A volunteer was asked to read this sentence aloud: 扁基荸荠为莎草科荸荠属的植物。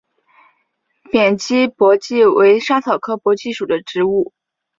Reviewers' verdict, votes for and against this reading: accepted, 4, 1